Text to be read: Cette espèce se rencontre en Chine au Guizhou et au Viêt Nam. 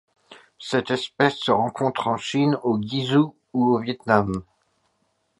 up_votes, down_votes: 0, 2